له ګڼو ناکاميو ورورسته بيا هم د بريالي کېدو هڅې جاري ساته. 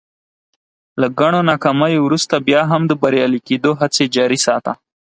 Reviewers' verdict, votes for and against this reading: accepted, 4, 0